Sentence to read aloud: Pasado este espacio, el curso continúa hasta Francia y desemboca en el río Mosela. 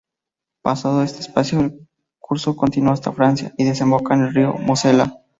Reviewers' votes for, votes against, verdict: 2, 0, accepted